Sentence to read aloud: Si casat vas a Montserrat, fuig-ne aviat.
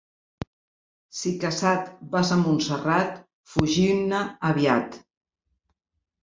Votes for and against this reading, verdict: 0, 2, rejected